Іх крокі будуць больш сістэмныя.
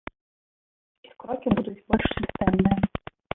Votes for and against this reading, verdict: 0, 2, rejected